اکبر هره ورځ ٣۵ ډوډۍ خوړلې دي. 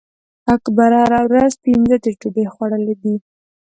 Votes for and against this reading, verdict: 0, 2, rejected